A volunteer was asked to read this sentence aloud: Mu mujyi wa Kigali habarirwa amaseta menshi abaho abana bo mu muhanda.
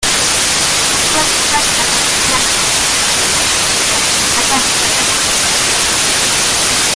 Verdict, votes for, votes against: rejected, 0, 2